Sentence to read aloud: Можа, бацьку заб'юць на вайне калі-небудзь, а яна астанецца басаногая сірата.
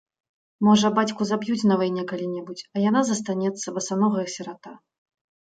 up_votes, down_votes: 1, 2